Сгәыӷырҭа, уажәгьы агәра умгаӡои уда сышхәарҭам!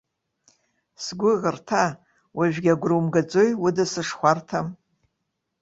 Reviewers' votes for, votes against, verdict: 2, 0, accepted